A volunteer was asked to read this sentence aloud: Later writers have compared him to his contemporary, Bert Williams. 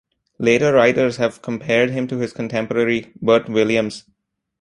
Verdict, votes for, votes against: accepted, 2, 0